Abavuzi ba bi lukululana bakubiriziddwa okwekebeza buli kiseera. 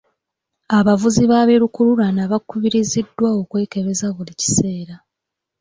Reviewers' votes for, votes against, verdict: 2, 0, accepted